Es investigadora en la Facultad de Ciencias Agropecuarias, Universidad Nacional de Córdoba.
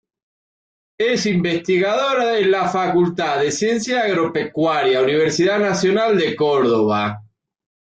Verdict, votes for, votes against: rejected, 1, 2